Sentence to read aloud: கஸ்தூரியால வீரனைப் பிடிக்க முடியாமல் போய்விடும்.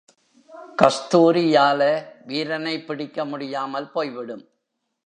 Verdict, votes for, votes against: accepted, 4, 0